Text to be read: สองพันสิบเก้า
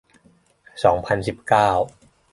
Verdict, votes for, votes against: accepted, 2, 0